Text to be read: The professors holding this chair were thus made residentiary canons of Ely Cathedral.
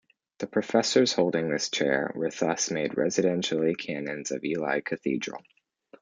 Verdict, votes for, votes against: accepted, 2, 0